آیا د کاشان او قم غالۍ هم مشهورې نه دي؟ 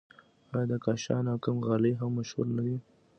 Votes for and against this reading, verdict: 2, 1, accepted